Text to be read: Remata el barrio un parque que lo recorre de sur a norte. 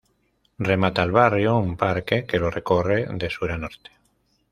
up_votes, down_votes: 2, 0